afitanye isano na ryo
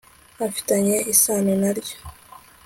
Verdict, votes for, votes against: accepted, 2, 0